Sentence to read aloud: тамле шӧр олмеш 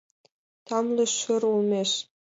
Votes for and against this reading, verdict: 2, 0, accepted